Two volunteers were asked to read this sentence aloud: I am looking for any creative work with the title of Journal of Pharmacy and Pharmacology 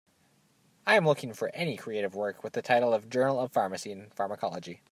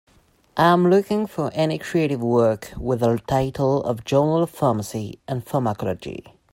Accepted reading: first